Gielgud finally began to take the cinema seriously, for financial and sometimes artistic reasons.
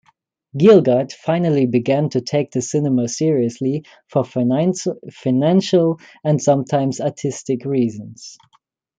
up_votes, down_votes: 0, 2